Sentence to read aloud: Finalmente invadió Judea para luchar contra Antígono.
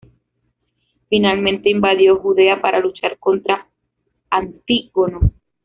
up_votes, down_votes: 3, 0